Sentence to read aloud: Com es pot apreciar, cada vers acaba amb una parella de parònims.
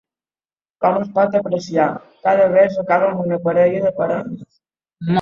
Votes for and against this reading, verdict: 2, 3, rejected